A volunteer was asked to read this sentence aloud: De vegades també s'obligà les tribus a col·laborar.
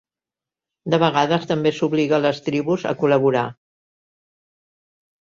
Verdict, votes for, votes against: accepted, 2, 0